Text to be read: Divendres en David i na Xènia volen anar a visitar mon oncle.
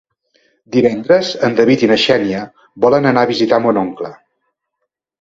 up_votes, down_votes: 2, 0